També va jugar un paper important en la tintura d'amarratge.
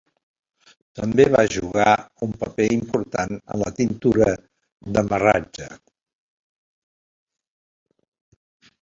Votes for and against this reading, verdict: 1, 2, rejected